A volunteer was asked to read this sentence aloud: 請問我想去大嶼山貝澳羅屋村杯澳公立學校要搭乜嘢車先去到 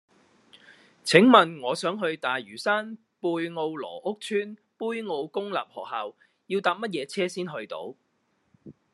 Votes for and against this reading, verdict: 2, 0, accepted